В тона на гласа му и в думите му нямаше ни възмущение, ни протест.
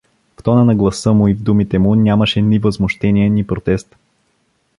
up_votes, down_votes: 2, 0